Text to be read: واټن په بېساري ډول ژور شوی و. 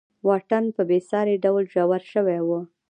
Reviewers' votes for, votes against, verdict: 0, 2, rejected